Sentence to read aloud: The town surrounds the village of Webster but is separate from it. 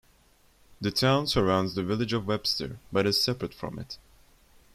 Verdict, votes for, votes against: accepted, 2, 0